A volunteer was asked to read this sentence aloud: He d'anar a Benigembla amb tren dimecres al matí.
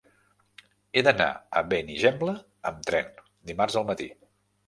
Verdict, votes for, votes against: rejected, 0, 3